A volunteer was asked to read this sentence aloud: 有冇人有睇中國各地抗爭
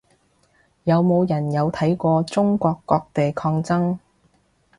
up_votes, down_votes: 0, 2